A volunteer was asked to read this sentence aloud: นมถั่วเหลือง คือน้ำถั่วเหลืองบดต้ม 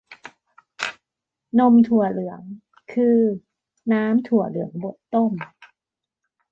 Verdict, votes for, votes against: accepted, 2, 1